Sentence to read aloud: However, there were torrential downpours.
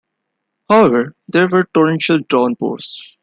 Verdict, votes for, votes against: rejected, 0, 2